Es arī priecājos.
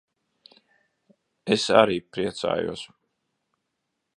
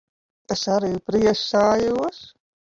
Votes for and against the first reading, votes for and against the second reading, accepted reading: 2, 0, 0, 2, first